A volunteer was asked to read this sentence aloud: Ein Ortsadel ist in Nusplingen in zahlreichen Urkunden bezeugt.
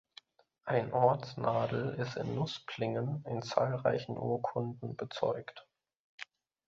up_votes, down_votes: 1, 2